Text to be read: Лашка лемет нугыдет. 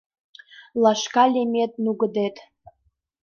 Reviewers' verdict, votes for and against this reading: accepted, 2, 0